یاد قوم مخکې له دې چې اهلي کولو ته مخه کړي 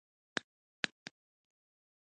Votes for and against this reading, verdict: 1, 2, rejected